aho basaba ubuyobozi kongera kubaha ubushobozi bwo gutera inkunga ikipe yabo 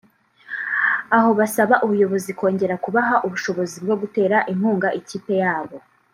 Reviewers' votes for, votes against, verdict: 2, 0, accepted